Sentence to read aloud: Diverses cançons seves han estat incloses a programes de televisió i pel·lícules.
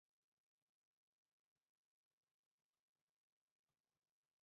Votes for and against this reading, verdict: 0, 3, rejected